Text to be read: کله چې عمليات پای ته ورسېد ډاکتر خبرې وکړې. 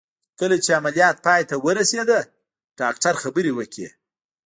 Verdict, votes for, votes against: accepted, 2, 0